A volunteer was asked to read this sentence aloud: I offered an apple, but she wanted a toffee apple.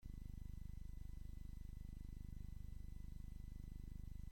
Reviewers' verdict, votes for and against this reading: rejected, 0, 2